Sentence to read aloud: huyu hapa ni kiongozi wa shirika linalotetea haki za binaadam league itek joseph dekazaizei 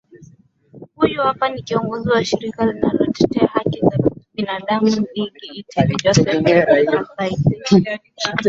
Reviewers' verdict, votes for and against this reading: rejected, 2, 4